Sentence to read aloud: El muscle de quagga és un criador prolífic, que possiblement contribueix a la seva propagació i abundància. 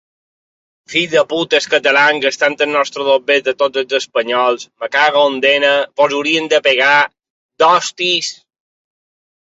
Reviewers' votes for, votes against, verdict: 0, 3, rejected